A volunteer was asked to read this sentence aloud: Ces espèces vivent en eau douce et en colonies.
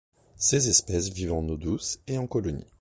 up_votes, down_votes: 2, 0